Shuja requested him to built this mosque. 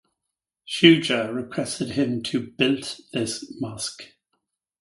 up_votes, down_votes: 4, 0